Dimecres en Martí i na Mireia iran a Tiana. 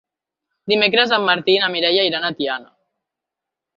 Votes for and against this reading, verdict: 6, 0, accepted